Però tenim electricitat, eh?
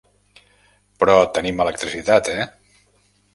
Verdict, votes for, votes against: accepted, 5, 0